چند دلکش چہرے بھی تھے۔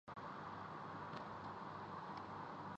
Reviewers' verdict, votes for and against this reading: rejected, 0, 2